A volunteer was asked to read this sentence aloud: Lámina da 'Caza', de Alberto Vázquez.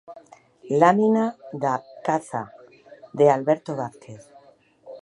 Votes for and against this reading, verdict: 1, 2, rejected